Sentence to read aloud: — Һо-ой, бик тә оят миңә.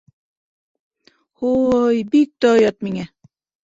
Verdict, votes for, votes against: accepted, 2, 0